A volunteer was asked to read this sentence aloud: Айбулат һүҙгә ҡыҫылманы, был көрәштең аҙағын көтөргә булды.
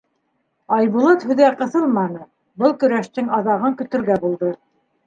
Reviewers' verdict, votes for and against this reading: accepted, 2, 0